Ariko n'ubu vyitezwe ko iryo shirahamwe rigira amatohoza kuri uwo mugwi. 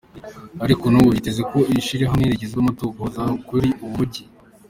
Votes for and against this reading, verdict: 2, 0, accepted